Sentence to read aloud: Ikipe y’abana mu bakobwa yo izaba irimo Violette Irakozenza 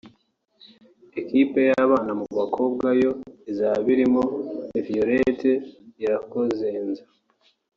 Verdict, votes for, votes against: accepted, 2, 0